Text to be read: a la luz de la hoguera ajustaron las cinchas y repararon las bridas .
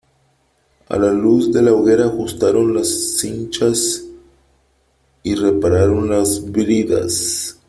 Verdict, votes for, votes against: rejected, 1, 2